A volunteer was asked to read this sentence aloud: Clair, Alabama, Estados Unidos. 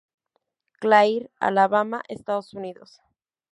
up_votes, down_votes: 4, 0